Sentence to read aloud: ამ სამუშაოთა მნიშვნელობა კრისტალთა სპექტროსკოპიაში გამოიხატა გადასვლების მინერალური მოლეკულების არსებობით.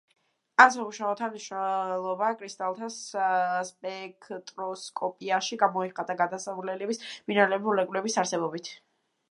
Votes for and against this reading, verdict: 1, 2, rejected